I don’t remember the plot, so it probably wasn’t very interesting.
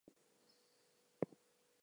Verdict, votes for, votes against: rejected, 0, 2